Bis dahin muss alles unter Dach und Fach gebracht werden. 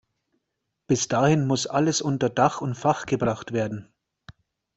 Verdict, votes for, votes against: accepted, 2, 0